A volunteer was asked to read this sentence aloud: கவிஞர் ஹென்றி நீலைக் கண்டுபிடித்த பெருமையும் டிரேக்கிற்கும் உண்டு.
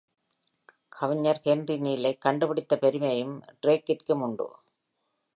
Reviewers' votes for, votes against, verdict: 3, 1, accepted